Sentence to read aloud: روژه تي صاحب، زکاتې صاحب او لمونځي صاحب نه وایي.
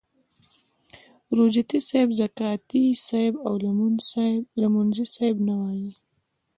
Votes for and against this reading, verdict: 1, 2, rejected